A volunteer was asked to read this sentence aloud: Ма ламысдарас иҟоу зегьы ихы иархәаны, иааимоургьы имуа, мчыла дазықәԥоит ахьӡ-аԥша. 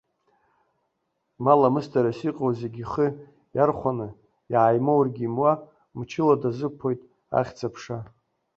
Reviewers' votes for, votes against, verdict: 0, 2, rejected